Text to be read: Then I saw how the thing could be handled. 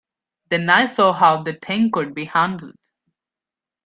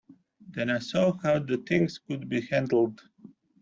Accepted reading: first